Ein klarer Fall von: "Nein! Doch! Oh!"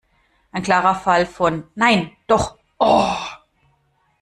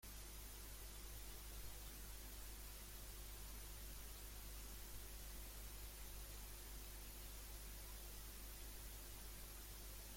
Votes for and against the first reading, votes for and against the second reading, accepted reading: 2, 0, 0, 2, first